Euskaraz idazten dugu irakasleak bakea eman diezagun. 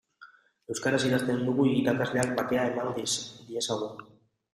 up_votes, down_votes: 0, 2